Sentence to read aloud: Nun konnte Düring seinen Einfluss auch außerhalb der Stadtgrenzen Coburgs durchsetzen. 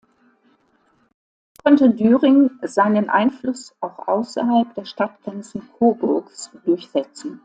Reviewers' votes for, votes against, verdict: 0, 2, rejected